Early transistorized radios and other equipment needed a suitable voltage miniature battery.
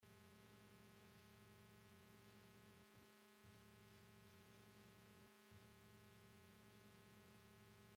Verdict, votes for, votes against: rejected, 0, 2